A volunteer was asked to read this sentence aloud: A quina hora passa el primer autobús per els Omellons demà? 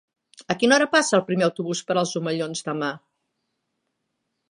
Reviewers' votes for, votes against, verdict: 4, 0, accepted